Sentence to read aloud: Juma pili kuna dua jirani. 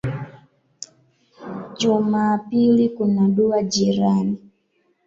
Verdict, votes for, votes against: rejected, 1, 2